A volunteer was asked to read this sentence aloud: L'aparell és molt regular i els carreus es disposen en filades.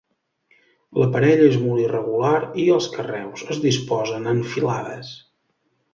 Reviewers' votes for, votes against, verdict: 1, 2, rejected